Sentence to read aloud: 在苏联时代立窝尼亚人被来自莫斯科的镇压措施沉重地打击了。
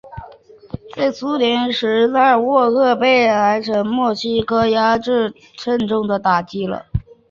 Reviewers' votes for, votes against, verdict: 0, 3, rejected